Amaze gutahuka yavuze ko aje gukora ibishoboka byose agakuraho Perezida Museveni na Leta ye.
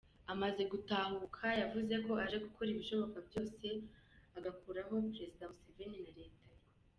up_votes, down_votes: 2, 0